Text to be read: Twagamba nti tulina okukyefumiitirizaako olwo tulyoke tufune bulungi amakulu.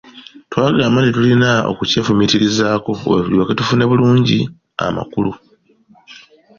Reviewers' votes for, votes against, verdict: 2, 0, accepted